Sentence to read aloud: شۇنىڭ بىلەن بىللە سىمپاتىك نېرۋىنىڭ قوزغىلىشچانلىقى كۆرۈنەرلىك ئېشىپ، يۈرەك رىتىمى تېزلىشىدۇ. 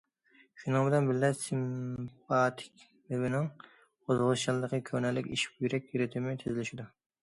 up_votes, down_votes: 2, 0